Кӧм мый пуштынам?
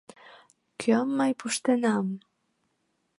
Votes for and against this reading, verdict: 2, 0, accepted